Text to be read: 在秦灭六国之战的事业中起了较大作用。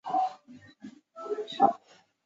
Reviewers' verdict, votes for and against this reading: rejected, 0, 4